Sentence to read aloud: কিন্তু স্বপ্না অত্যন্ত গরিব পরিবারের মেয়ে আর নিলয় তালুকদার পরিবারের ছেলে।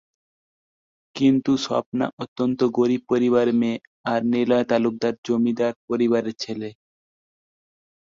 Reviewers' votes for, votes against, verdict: 0, 2, rejected